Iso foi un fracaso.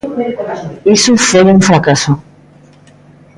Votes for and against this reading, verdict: 1, 2, rejected